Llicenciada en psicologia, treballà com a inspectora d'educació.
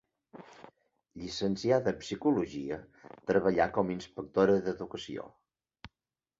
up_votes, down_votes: 2, 0